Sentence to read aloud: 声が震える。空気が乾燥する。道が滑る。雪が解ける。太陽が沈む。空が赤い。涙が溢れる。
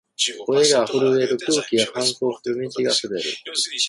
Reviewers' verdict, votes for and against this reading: rejected, 0, 2